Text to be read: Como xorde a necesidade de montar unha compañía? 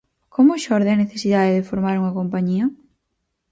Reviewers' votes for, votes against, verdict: 2, 4, rejected